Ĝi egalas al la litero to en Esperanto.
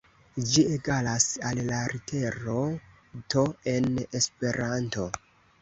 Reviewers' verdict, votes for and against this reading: rejected, 1, 2